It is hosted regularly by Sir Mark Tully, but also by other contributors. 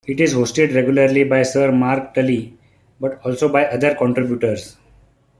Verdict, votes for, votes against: rejected, 1, 2